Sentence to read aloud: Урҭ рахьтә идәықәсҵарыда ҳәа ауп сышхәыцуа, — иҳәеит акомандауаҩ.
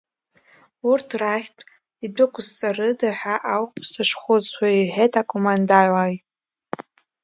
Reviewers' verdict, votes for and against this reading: rejected, 0, 2